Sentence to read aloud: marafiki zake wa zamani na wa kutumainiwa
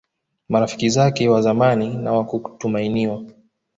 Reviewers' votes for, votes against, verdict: 1, 2, rejected